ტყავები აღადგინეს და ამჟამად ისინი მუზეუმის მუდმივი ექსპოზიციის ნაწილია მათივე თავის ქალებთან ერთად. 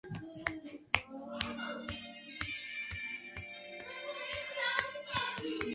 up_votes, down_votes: 0, 2